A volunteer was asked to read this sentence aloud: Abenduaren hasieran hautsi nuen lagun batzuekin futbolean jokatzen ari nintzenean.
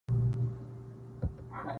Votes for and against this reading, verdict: 0, 2, rejected